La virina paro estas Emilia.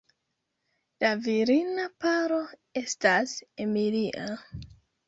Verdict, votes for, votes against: accepted, 2, 0